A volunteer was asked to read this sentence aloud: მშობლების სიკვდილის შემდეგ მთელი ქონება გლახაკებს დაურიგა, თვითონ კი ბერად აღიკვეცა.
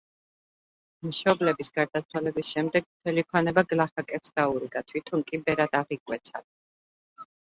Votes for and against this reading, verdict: 1, 2, rejected